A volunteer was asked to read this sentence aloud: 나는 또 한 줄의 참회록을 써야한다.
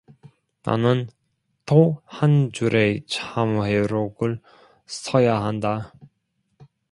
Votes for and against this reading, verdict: 0, 2, rejected